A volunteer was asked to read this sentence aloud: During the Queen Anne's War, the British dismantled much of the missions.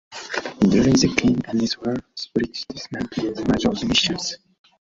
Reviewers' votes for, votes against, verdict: 0, 2, rejected